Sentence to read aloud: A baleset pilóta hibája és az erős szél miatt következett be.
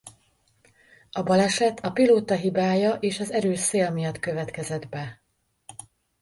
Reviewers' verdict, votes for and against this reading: rejected, 0, 2